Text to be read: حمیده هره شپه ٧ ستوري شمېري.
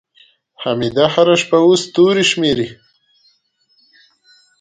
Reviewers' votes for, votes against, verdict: 0, 2, rejected